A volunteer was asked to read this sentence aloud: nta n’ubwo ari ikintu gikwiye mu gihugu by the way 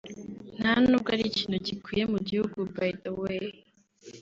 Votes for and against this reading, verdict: 2, 1, accepted